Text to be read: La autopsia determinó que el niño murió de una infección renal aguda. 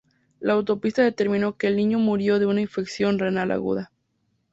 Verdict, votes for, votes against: rejected, 0, 2